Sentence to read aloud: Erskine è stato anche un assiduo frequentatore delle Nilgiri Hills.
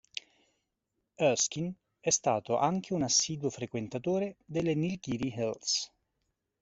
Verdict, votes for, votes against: rejected, 1, 2